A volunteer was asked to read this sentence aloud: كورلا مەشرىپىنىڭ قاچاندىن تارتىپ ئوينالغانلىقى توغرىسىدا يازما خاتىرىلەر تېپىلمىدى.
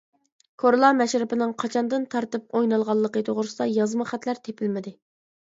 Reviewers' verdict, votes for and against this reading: rejected, 0, 2